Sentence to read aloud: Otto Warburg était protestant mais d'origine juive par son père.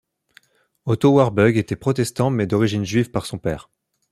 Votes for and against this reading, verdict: 2, 1, accepted